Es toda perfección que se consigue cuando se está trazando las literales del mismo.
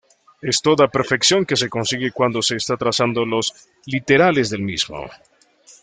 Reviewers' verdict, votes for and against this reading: rejected, 1, 2